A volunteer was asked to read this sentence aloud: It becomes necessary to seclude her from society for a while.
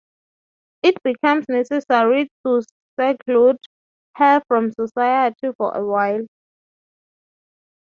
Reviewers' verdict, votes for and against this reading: accepted, 6, 0